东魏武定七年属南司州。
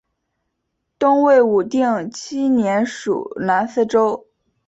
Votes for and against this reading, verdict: 2, 0, accepted